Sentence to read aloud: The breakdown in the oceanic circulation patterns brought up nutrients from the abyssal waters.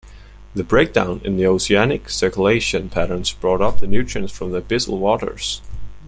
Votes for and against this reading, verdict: 2, 0, accepted